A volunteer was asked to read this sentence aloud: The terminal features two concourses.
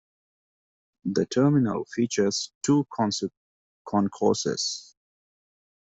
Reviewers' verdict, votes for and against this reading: rejected, 1, 2